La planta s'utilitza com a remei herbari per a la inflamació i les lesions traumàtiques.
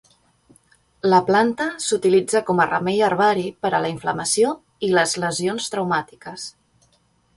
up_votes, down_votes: 4, 0